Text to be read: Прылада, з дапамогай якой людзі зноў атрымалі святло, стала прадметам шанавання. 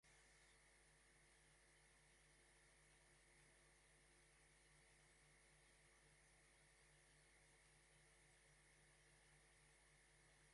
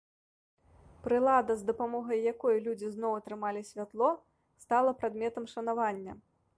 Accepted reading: second